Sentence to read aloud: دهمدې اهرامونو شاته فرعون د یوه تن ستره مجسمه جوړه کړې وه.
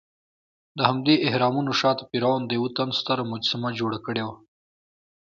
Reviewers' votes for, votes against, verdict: 2, 0, accepted